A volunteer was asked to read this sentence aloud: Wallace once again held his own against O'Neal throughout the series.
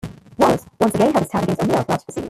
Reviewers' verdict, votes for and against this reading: rejected, 0, 2